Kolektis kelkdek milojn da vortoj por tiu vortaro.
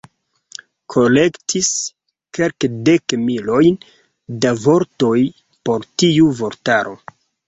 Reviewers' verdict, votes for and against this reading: accepted, 2, 0